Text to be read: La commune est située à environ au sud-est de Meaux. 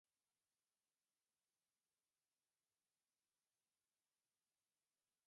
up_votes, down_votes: 1, 2